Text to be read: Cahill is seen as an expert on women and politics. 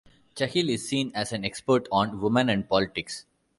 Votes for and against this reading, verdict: 0, 2, rejected